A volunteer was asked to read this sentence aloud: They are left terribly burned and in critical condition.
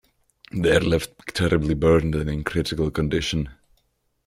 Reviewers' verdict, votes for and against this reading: accepted, 2, 0